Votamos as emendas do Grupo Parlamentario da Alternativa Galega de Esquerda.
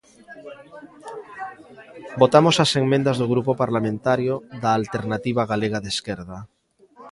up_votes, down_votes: 0, 3